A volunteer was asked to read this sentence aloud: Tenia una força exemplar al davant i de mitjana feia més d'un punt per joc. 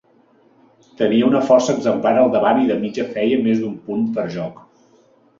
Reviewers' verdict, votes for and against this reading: rejected, 0, 2